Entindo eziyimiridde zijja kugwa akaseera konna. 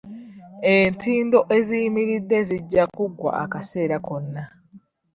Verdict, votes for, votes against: rejected, 1, 2